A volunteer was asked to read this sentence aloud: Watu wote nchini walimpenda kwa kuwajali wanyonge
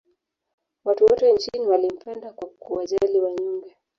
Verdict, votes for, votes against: rejected, 2, 3